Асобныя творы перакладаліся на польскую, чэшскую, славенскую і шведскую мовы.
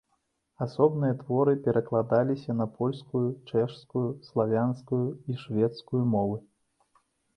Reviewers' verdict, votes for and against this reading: rejected, 1, 2